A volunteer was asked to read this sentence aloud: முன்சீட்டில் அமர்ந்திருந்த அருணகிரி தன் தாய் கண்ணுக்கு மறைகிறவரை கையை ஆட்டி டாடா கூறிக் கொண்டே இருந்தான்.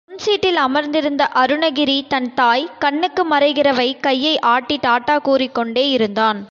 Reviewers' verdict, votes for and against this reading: rejected, 1, 3